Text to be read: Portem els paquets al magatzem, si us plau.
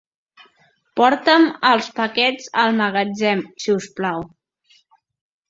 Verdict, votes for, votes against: rejected, 1, 2